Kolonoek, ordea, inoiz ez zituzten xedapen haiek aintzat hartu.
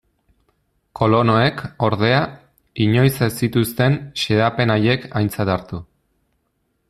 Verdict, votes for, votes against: accepted, 2, 0